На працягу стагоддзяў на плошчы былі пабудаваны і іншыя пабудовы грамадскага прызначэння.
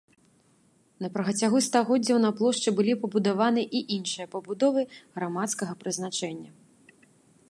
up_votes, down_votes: 0, 2